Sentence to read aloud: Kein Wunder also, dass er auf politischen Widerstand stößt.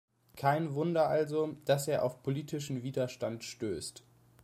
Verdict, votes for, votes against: accepted, 2, 0